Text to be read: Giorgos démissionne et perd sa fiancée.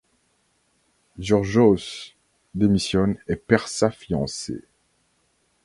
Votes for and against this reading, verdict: 1, 2, rejected